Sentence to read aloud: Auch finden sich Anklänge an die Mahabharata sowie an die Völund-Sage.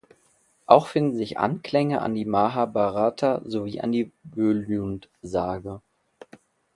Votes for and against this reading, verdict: 0, 2, rejected